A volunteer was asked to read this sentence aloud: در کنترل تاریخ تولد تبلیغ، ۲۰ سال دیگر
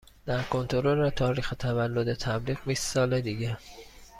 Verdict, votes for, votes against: rejected, 0, 2